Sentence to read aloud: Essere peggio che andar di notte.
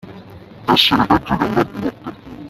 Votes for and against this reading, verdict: 0, 2, rejected